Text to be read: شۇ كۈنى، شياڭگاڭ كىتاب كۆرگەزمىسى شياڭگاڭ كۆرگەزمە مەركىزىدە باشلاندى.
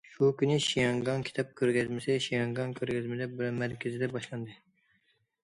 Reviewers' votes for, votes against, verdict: 0, 2, rejected